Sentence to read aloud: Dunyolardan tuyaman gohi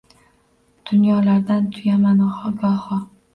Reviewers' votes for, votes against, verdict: 0, 2, rejected